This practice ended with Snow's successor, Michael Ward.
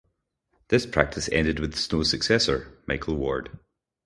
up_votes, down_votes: 2, 2